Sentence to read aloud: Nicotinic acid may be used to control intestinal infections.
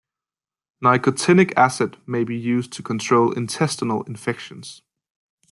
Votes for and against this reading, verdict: 2, 0, accepted